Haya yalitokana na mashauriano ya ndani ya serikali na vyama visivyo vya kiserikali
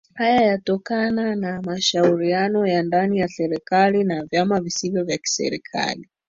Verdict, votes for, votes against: rejected, 1, 2